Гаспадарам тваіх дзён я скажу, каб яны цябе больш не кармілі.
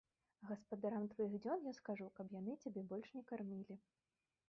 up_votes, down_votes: 2, 3